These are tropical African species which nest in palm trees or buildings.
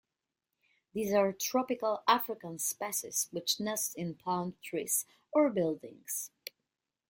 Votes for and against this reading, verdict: 1, 2, rejected